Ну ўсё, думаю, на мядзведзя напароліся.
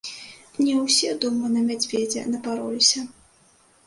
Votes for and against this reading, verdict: 1, 2, rejected